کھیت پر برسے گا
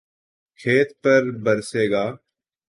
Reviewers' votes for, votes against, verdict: 2, 1, accepted